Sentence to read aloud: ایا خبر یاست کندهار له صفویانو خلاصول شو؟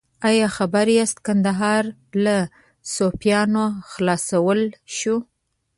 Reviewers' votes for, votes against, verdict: 0, 2, rejected